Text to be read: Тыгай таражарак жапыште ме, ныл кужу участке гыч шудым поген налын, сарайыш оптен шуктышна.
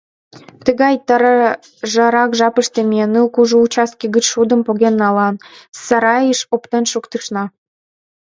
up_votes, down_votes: 1, 2